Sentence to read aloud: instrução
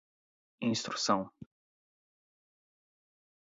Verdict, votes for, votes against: rejected, 0, 4